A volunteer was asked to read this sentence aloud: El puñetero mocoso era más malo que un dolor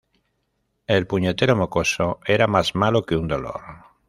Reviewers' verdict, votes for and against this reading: accepted, 2, 0